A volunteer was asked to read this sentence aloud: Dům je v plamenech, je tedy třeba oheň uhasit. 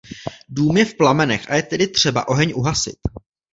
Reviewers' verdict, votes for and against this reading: rejected, 0, 2